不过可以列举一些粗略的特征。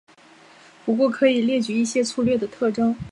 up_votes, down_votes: 2, 0